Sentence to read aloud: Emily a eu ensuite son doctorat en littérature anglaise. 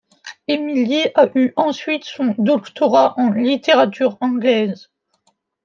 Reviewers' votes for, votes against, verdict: 2, 0, accepted